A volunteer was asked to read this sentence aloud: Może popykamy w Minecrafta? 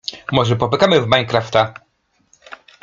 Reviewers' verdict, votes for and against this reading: accepted, 2, 0